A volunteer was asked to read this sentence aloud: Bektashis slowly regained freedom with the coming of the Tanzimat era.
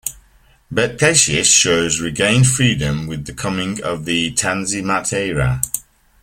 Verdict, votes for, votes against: rejected, 0, 2